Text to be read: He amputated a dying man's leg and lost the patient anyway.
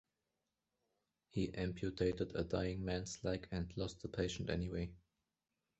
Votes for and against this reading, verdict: 2, 1, accepted